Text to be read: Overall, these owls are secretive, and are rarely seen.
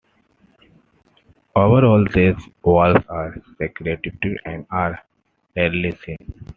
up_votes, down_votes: 2, 1